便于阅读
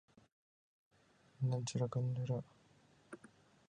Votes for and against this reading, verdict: 0, 2, rejected